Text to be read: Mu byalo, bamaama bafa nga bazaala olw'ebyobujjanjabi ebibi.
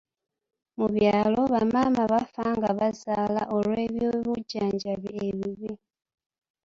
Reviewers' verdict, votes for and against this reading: accepted, 2, 0